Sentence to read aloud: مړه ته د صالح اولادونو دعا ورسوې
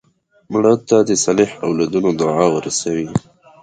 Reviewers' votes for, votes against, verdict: 1, 2, rejected